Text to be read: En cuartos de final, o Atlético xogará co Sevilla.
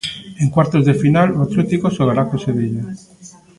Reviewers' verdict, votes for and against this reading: rejected, 0, 2